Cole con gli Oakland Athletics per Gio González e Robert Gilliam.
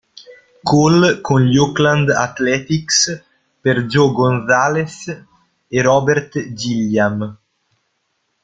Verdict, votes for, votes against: rejected, 0, 2